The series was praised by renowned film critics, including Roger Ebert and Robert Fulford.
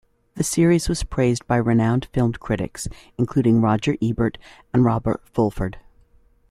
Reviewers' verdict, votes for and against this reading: accepted, 2, 1